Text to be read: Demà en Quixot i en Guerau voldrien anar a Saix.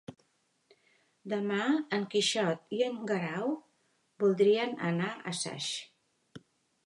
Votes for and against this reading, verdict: 3, 0, accepted